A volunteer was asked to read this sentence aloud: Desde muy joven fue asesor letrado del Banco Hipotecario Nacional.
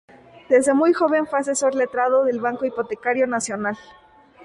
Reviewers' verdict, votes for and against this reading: rejected, 0, 2